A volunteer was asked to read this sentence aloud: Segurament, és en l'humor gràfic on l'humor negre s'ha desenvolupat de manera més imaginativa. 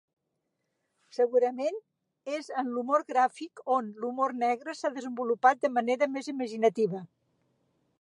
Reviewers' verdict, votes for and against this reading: accepted, 2, 0